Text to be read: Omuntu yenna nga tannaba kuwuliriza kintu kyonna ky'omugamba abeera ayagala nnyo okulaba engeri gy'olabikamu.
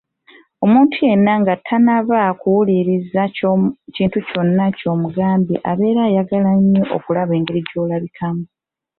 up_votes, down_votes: 2, 1